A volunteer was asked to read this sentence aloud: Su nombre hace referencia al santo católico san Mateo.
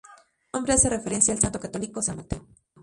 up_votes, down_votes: 0, 2